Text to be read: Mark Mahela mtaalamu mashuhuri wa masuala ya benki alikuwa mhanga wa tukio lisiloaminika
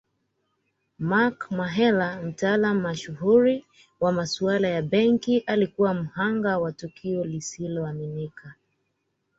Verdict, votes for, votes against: accepted, 2, 0